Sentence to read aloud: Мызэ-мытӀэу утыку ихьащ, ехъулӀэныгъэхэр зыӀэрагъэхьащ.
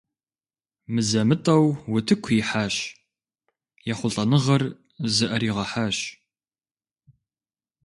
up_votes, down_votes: 0, 2